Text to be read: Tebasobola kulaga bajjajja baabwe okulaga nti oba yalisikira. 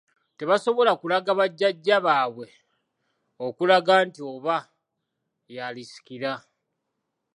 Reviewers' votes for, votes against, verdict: 2, 0, accepted